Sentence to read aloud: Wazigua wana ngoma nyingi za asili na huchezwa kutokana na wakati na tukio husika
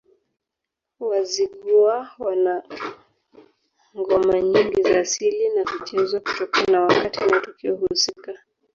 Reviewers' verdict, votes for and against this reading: rejected, 0, 2